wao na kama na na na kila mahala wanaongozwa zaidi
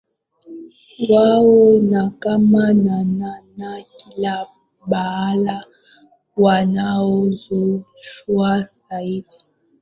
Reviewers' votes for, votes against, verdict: 2, 1, accepted